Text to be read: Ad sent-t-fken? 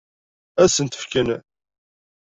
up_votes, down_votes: 1, 2